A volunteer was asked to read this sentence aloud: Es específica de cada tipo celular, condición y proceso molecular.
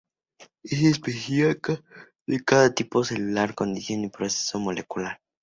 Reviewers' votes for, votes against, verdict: 0, 4, rejected